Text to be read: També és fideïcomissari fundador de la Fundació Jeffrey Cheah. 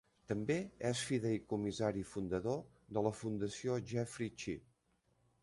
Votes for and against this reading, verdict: 2, 0, accepted